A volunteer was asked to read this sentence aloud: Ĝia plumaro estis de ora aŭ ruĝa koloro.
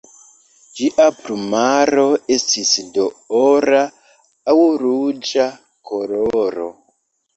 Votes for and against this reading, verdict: 0, 2, rejected